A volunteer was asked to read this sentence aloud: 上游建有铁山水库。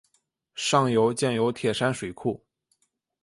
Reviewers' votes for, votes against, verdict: 2, 0, accepted